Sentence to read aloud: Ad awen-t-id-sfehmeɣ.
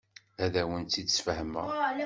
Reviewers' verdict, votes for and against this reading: accepted, 2, 0